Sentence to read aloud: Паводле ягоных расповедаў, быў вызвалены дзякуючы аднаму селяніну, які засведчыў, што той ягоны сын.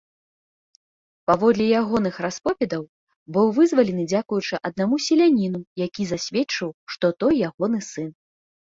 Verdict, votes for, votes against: accepted, 2, 0